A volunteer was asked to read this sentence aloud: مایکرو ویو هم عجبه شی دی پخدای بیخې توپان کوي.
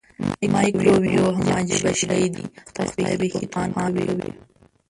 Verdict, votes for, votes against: rejected, 1, 4